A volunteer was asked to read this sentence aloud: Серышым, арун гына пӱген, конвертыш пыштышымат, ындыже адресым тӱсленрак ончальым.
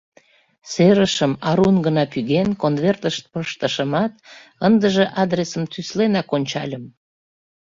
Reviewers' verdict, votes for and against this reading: rejected, 0, 2